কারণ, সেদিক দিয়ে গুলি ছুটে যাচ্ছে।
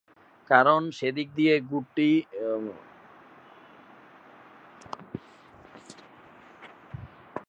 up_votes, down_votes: 0, 2